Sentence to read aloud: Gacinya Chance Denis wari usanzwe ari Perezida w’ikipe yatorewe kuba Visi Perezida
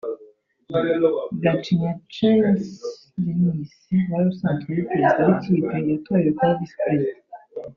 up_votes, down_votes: 1, 2